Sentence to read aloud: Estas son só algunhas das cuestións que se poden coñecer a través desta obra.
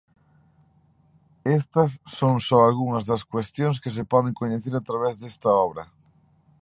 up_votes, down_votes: 2, 0